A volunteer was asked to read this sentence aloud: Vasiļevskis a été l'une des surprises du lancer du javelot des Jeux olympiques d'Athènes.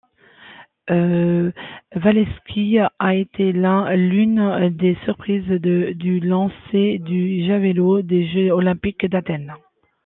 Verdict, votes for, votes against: rejected, 0, 2